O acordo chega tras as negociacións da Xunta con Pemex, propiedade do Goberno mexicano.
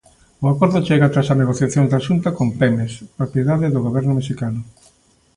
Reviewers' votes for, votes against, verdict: 2, 0, accepted